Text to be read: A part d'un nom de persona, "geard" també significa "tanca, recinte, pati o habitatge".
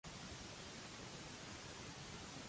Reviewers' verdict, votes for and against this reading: rejected, 0, 2